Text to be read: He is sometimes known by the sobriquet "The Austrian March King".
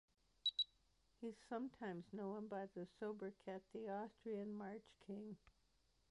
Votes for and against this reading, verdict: 2, 0, accepted